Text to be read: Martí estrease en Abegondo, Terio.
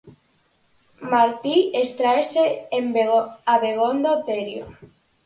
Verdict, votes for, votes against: rejected, 0, 4